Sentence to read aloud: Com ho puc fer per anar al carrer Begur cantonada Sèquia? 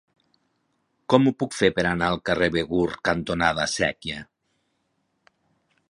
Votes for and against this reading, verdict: 4, 0, accepted